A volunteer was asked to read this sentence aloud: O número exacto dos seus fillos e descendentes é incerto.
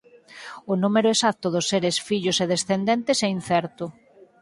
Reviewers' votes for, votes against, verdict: 0, 4, rejected